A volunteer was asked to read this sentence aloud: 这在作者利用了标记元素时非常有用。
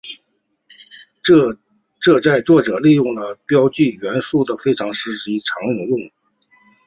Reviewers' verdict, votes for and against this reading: accepted, 3, 0